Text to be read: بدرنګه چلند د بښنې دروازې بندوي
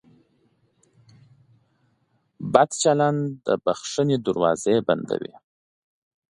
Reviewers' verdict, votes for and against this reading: rejected, 1, 2